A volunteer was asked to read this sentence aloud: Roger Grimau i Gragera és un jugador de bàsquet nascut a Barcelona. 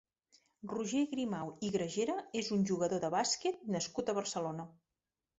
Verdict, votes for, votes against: accepted, 4, 0